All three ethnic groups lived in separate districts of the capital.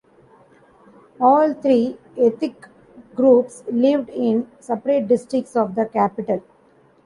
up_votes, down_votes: 1, 2